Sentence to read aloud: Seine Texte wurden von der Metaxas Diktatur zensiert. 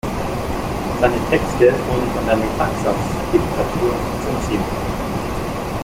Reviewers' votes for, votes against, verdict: 1, 2, rejected